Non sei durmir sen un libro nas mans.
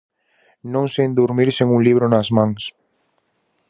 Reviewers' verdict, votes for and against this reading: rejected, 0, 4